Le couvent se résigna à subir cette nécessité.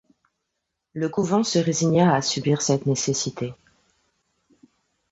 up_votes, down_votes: 2, 0